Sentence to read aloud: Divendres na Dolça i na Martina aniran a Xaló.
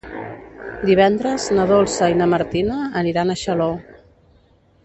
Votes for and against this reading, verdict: 1, 2, rejected